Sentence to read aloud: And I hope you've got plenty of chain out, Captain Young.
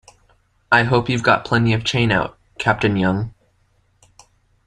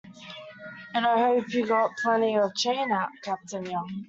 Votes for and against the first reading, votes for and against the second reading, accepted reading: 0, 2, 2, 0, second